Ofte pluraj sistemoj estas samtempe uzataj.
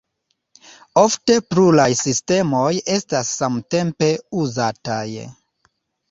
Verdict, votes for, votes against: rejected, 0, 2